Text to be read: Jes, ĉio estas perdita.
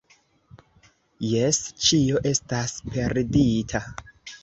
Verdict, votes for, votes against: rejected, 1, 2